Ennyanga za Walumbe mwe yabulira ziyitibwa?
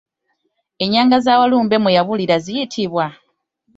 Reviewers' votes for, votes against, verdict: 2, 0, accepted